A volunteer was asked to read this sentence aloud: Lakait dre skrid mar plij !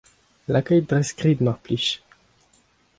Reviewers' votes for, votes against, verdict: 2, 0, accepted